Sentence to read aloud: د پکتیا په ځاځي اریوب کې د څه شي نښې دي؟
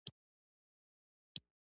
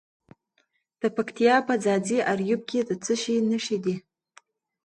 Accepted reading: second